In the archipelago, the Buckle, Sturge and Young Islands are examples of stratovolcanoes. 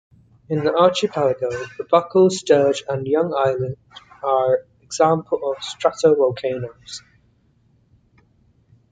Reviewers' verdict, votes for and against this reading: accepted, 2, 1